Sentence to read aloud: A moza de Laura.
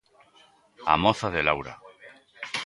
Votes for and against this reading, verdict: 2, 1, accepted